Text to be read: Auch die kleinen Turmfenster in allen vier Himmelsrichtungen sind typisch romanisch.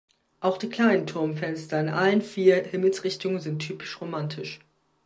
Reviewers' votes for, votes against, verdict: 0, 2, rejected